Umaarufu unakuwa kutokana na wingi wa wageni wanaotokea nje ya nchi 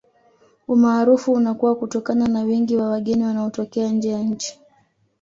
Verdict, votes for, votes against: accepted, 2, 0